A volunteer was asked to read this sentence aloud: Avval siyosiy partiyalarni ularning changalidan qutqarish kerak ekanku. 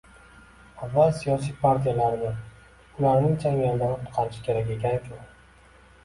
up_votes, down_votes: 2, 1